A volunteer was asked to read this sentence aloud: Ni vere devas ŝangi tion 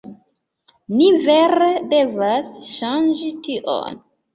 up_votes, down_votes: 2, 3